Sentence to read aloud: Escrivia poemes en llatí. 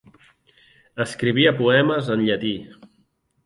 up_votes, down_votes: 4, 0